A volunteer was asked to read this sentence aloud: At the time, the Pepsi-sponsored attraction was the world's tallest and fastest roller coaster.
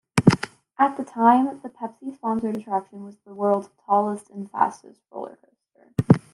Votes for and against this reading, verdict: 0, 2, rejected